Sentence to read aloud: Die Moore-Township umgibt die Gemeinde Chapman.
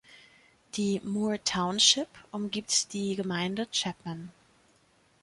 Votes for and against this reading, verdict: 2, 0, accepted